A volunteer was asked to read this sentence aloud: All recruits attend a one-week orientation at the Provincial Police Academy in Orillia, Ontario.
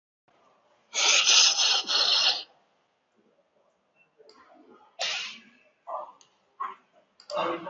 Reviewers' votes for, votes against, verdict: 0, 2, rejected